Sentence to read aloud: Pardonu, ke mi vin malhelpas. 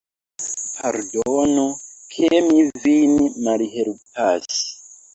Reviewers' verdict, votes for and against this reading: rejected, 0, 2